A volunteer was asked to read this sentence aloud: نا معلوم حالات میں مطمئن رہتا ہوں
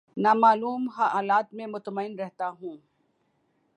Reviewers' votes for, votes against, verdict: 3, 1, accepted